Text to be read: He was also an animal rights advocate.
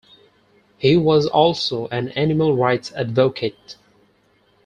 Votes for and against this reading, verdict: 4, 0, accepted